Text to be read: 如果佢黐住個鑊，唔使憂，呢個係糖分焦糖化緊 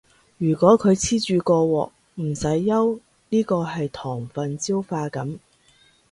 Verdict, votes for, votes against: rejected, 0, 2